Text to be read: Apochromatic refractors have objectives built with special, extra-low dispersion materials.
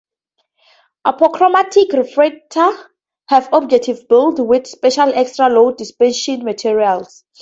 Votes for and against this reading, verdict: 0, 4, rejected